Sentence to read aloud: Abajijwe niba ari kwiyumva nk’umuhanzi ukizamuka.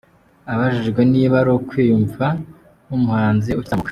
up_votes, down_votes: 1, 2